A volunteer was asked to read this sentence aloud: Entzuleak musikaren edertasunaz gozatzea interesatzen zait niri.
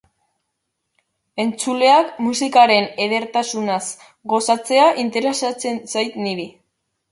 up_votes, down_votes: 2, 0